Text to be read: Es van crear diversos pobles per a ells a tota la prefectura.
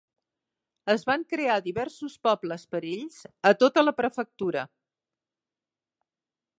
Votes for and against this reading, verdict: 2, 0, accepted